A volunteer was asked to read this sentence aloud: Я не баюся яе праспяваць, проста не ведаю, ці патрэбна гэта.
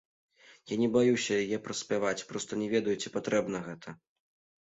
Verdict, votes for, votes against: accepted, 2, 0